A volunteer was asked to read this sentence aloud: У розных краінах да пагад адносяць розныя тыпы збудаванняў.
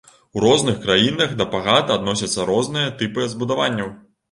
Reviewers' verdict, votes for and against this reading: rejected, 1, 2